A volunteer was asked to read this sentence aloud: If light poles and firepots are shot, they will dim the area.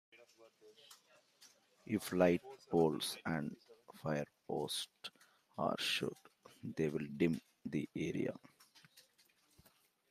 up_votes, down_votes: 2, 0